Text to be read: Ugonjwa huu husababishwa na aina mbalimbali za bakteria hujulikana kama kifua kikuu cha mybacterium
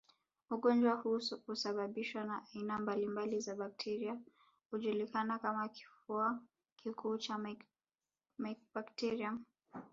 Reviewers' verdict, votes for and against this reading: rejected, 1, 2